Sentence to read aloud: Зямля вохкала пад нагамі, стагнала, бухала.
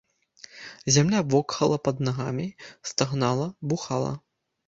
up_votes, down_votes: 0, 2